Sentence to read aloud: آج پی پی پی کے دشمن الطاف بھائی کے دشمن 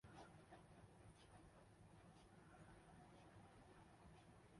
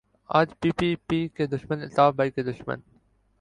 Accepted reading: second